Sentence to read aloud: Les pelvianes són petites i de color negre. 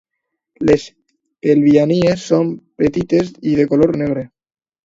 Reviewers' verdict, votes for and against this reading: rejected, 1, 2